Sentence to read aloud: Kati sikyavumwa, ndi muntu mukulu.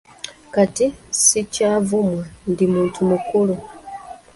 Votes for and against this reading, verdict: 2, 0, accepted